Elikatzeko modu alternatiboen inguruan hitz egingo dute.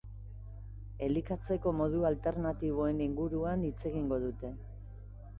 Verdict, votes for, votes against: accepted, 2, 0